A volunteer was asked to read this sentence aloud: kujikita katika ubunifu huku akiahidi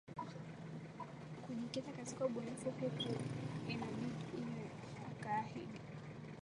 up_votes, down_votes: 1, 3